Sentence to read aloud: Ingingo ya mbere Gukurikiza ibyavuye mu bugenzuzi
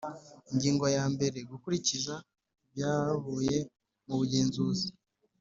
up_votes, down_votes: 3, 0